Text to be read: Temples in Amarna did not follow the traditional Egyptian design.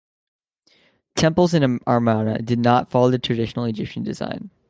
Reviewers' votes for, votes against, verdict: 2, 0, accepted